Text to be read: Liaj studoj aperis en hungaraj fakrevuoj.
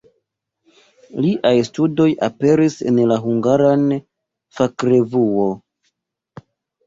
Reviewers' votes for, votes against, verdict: 0, 3, rejected